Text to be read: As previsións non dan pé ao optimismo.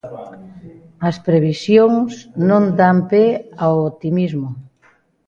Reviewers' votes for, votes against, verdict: 2, 0, accepted